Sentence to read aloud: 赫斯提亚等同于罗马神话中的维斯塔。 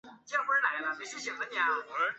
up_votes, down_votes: 0, 2